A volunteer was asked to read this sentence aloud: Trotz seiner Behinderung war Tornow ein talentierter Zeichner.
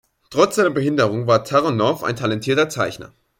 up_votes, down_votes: 1, 2